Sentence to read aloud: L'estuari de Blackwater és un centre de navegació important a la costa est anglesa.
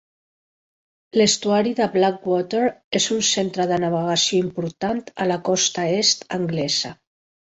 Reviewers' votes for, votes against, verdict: 2, 1, accepted